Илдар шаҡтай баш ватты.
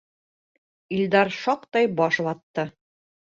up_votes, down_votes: 3, 0